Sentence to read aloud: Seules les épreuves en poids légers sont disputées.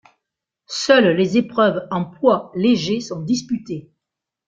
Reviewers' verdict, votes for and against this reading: accepted, 2, 0